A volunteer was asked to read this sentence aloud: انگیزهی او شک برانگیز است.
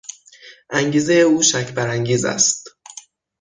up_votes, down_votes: 6, 0